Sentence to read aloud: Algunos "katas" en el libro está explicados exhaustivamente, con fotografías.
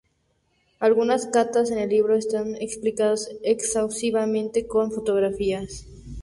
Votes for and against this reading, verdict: 2, 0, accepted